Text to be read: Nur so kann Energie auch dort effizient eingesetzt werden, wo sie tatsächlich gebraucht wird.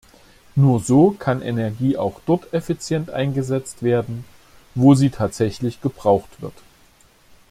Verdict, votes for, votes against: accepted, 2, 0